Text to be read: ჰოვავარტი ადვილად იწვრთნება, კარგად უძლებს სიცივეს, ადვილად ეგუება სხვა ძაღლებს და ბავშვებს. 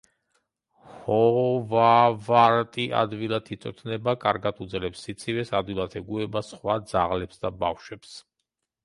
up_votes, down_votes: 3, 1